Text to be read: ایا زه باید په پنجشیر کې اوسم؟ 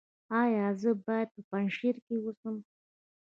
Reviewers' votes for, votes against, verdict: 1, 2, rejected